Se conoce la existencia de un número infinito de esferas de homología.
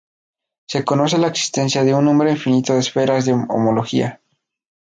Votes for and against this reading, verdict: 2, 0, accepted